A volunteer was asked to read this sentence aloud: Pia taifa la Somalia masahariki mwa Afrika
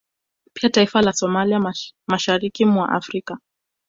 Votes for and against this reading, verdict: 2, 0, accepted